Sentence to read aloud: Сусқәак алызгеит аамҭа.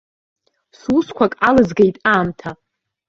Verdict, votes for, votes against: accepted, 4, 0